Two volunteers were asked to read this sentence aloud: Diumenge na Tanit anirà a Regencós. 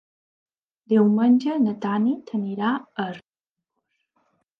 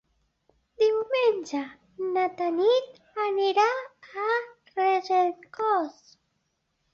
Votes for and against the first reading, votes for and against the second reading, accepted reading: 0, 2, 2, 1, second